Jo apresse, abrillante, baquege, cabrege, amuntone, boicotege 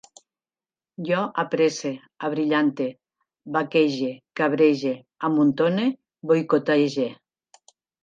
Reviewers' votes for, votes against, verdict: 2, 0, accepted